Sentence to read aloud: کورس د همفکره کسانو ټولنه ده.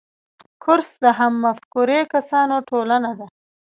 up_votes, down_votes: 0, 2